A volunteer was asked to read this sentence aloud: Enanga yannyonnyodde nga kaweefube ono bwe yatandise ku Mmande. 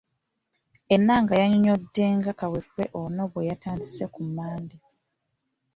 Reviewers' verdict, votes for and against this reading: rejected, 0, 2